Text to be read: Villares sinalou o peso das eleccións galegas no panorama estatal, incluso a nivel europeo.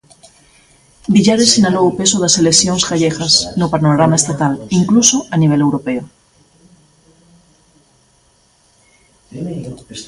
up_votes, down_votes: 0, 2